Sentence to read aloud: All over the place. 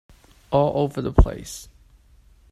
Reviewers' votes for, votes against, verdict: 2, 0, accepted